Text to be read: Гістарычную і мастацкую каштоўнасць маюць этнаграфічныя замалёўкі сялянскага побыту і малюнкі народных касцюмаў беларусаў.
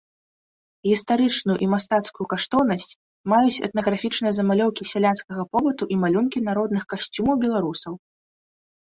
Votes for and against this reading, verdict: 2, 1, accepted